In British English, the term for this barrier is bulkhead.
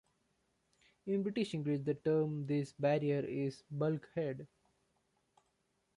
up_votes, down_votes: 2, 0